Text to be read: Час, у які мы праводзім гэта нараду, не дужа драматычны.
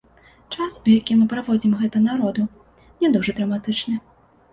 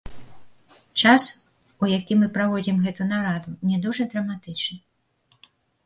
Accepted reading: second